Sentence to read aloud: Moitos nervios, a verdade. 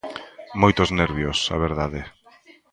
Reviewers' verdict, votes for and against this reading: accepted, 2, 0